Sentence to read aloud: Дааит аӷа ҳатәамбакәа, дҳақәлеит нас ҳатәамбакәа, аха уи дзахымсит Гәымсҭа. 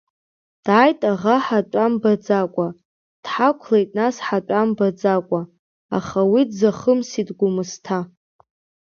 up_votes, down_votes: 1, 2